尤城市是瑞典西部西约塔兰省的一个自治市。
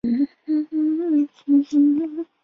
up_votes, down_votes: 0, 2